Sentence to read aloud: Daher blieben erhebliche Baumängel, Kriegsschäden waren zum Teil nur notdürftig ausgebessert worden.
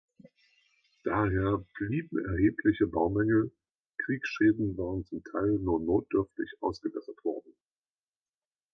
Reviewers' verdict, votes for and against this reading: accepted, 2, 0